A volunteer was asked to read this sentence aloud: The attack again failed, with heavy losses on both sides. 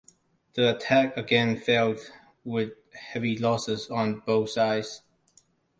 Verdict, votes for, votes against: accepted, 2, 0